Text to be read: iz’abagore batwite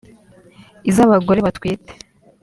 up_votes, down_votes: 2, 0